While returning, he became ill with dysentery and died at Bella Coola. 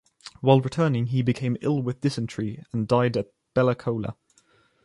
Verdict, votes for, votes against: accepted, 2, 0